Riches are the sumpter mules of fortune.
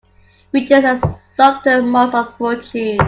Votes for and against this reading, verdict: 2, 1, accepted